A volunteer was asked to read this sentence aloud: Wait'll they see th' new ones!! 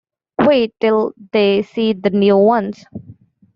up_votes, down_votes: 0, 2